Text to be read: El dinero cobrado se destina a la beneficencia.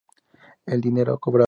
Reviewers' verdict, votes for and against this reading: rejected, 0, 2